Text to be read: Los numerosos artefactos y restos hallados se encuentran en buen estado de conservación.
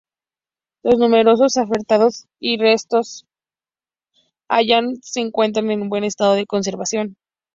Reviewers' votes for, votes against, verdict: 0, 2, rejected